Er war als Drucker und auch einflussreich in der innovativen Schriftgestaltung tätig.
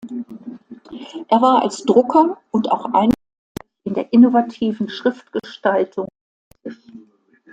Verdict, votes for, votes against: rejected, 0, 2